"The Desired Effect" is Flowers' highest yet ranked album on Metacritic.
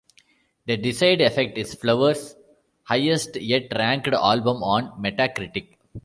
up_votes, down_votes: 1, 2